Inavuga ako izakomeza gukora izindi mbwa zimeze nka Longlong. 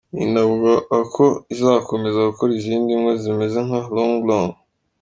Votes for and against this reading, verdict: 2, 0, accepted